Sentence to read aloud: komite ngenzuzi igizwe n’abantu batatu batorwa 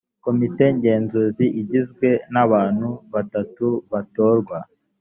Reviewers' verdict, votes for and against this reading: accepted, 2, 0